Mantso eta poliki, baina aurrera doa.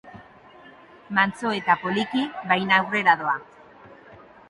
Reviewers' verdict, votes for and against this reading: accepted, 2, 0